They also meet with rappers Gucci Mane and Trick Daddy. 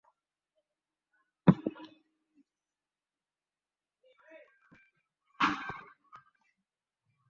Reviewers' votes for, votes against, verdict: 0, 2, rejected